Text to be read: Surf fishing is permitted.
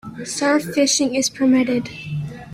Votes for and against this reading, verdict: 2, 0, accepted